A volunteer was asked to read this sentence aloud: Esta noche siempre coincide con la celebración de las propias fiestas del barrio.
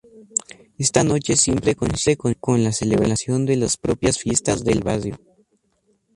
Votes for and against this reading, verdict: 0, 2, rejected